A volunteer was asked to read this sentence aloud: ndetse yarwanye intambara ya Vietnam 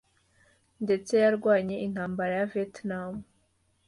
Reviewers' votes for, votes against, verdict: 2, 0, accepted